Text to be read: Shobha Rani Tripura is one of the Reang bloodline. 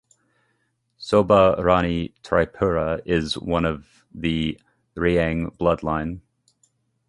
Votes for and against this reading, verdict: 2, 0, accepted